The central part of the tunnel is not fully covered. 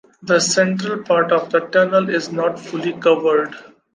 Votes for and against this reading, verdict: 2, 0, accepted